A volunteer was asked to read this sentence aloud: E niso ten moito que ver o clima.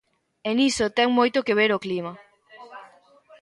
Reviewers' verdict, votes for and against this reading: rejected, 0, 2